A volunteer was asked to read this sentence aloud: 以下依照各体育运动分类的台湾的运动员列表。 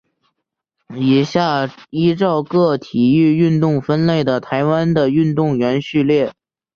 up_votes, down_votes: 1, 2